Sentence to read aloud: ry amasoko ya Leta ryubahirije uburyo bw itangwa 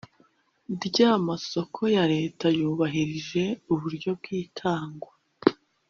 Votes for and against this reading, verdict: 0, 2, rejected